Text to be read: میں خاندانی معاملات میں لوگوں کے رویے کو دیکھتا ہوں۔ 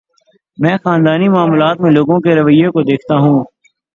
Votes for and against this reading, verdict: 6, 0, accepted